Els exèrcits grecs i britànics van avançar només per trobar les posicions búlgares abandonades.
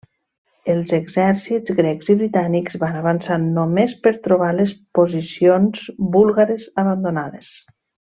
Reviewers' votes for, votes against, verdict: 3, 0, accepted